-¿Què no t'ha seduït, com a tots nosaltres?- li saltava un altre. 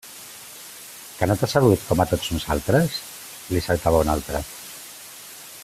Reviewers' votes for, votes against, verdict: 3, 0, accepted